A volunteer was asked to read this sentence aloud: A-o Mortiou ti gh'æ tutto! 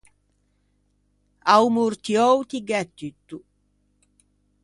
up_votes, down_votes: 2, 0